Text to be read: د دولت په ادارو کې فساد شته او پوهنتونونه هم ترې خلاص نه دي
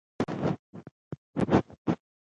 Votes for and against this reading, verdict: 1, 2, rejected